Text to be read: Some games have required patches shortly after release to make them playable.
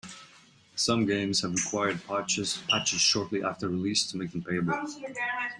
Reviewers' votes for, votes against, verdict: 0, 2, rejected